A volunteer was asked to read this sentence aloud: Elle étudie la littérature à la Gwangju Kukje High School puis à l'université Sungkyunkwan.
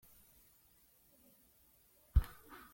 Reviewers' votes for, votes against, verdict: 0, 2, rejected